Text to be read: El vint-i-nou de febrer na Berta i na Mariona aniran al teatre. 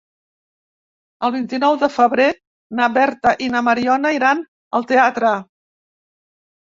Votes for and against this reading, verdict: 2, 3, rejected